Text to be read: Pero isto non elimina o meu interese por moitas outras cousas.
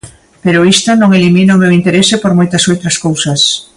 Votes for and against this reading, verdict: 2, 0, accepted